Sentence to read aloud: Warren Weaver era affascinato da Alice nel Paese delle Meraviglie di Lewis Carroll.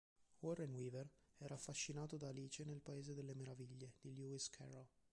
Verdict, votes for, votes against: rejected, 1, 2